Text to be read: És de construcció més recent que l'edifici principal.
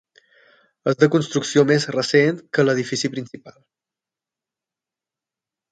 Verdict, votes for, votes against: accepted, 12, 3